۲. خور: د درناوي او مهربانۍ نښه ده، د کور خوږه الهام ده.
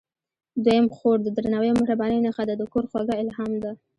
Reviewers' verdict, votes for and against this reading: rejected, 0, 2